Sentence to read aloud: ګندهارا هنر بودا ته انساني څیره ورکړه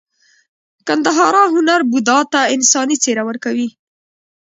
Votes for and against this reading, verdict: 1, 2, rejected